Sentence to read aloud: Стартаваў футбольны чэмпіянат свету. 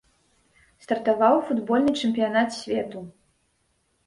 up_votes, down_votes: 1, 2